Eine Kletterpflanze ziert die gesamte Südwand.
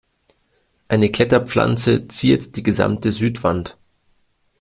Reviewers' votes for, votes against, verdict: 2, 0, accepted